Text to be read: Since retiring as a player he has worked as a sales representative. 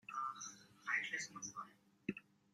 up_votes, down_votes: 0, 2